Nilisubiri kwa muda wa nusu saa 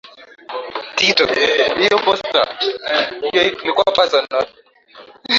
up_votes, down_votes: 1, 8